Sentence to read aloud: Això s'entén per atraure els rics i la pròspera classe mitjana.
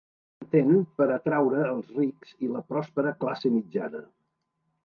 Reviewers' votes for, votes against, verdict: 0, 3, rejected